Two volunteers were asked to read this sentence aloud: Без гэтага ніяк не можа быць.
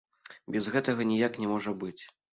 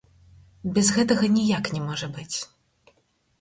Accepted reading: first